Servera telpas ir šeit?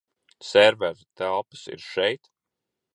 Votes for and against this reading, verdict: 2, 0, accepted